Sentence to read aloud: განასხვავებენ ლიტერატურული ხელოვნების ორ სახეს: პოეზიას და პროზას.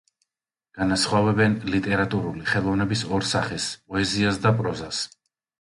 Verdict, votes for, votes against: accepted, 2, 0